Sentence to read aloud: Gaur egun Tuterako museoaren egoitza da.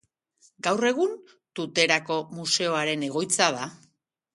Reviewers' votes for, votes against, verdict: 3, 0, accepted